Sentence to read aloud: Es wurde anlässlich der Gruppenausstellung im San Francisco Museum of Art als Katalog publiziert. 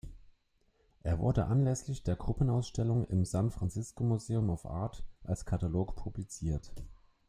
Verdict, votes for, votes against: rejected, 1, 2